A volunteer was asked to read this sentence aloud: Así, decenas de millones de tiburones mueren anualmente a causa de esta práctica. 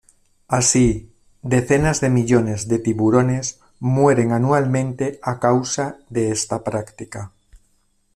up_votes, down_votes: 2, 0